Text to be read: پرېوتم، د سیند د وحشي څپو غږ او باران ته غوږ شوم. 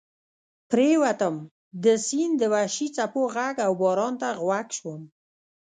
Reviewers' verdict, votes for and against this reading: rejected, 0, 2